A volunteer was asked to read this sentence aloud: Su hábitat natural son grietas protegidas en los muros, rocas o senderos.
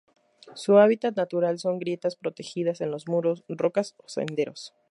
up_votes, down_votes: 0, 2